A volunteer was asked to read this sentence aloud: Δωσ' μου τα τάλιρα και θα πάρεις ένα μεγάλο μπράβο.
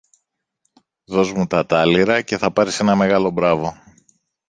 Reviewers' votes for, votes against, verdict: 2, 0, accepted